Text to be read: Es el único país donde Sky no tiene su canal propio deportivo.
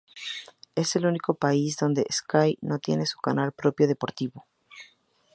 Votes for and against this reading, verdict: 0, 2, rejected